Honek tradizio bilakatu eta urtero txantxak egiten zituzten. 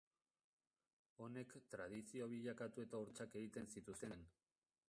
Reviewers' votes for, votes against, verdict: 0, 2, rejected